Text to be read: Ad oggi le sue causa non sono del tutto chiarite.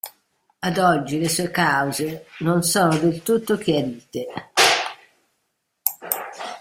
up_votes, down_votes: 0, 2